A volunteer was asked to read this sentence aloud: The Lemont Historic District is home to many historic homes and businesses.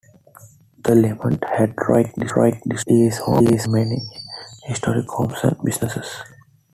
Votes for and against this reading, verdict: 0, 2, rejected